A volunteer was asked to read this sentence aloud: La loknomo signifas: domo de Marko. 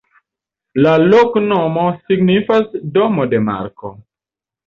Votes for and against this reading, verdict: 2, 0, accepted